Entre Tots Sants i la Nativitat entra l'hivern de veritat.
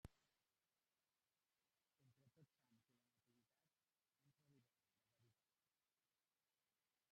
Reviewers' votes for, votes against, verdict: 0, 2, rejected